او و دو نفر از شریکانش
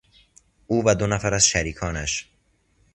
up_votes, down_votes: 2, 0